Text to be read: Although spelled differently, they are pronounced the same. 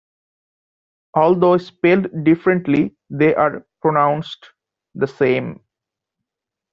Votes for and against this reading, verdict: 1, 2, rejected